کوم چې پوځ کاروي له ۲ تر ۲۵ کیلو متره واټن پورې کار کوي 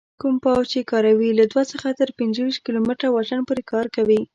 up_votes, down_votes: 0, 2